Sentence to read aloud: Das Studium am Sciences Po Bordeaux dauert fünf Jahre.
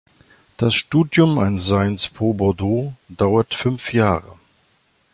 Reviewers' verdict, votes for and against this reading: rejected, 1, 2